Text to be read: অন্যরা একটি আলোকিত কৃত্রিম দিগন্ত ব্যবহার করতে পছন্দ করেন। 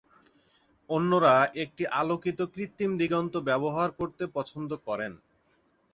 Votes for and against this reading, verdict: 2, 0, accepted